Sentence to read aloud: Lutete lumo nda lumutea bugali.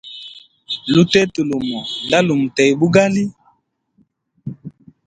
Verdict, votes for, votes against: rejected, 1, 2